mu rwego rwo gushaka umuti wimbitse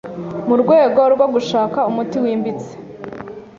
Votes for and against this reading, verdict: 3, 0, accepted